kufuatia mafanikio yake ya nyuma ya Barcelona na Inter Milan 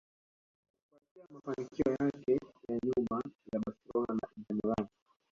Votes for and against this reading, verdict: 0, 2, rejected